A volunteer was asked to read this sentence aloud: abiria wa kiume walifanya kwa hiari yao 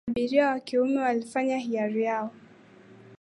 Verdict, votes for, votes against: rejected, 1, 2